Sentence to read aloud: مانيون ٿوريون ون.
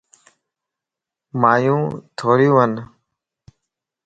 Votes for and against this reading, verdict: 2, 0, accepted